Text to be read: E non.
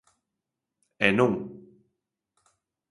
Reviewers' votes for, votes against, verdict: 3, 0, accepted